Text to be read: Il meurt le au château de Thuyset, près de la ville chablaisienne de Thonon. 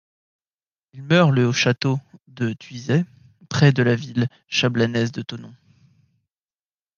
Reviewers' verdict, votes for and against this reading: rejected, 0, 2